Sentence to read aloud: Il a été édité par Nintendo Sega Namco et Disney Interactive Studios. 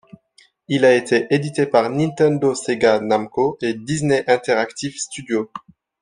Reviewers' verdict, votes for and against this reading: accepted, 2, 0